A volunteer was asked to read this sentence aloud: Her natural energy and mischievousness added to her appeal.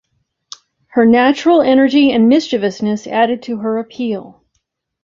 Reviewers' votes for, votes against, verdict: 2, 0, accepted